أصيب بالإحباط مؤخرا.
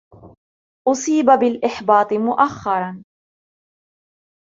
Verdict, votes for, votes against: accepted, 2, 0